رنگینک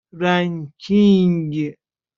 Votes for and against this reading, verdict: 1, 2, rejected